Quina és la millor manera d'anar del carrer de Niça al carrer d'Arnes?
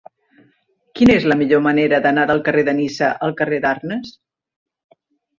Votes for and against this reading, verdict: 2, 0, accepted